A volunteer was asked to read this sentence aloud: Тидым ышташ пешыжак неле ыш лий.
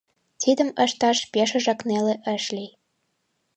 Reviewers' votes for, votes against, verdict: 2, 0, accepted